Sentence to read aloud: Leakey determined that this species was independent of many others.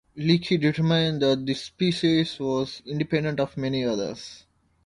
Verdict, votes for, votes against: accepted, 2, 0